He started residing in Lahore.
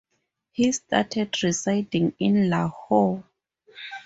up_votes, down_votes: 4, 0